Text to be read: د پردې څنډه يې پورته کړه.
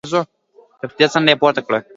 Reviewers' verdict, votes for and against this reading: accepted, 2, 0